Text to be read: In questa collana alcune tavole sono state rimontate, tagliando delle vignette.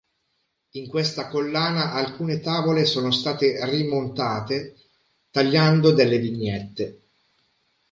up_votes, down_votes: 3, 0